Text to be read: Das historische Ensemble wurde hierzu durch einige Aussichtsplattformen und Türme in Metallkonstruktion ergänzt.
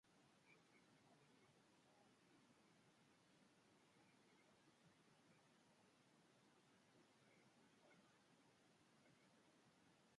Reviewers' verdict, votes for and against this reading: rejected, 0, 2